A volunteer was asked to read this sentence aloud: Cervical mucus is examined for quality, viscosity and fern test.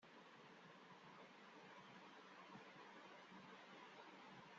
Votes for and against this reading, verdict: 0, 2, rejected